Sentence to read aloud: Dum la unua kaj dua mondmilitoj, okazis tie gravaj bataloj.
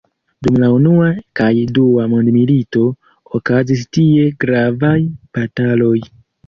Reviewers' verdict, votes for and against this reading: accepted, 2, 1